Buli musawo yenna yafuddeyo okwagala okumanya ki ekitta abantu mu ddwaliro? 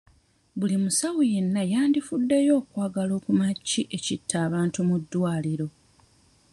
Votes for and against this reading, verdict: 1, 2, rejected